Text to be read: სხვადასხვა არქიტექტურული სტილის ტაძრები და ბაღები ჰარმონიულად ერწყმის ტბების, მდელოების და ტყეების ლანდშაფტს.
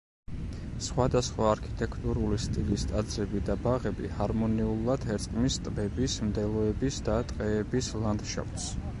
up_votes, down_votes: 2, 0